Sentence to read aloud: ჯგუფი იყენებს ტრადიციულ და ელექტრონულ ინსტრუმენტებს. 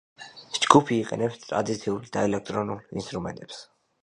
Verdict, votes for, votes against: accepted, 2, 0